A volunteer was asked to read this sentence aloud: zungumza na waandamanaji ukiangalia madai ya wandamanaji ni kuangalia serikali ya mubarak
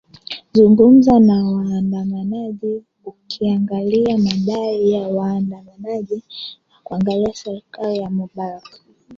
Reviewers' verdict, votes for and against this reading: rejected, 0, 2